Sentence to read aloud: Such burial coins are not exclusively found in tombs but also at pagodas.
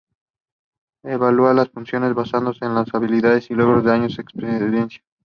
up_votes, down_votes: 0, 2